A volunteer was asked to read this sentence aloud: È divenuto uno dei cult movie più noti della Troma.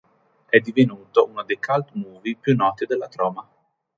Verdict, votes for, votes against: rejected, 1, 2